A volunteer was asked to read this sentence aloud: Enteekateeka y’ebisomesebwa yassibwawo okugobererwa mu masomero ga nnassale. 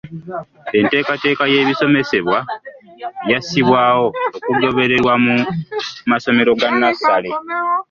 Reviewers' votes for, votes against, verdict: 2, 0, accepted